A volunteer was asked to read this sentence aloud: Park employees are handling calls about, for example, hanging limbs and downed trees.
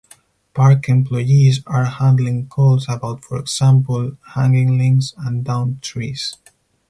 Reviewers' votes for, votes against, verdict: 4, 0, accepted